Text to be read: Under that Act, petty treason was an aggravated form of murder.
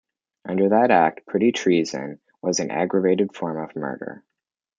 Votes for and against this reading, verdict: 2, 1, accepted